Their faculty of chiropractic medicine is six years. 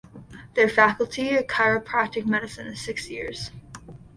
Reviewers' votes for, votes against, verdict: 2, 0, accepted